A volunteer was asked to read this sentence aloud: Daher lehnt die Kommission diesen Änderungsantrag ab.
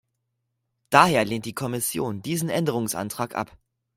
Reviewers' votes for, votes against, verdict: 2, 0, accepted